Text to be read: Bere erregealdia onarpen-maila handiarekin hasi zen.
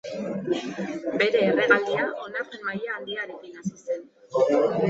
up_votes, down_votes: 0, 2